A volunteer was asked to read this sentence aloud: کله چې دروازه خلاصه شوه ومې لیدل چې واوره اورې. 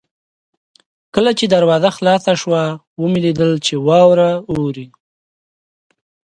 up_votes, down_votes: 2, 1